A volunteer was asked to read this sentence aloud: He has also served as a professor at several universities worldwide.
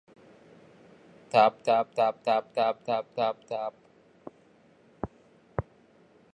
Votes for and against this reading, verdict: 0, 2, rejected